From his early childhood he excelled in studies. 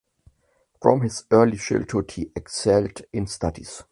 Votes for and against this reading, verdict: 2, 1, accepted